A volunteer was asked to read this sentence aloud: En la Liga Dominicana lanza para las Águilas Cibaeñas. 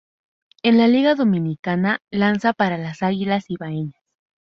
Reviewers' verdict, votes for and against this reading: rejected, 2, 2